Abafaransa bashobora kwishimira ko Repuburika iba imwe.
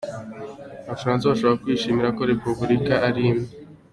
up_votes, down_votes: 2, 0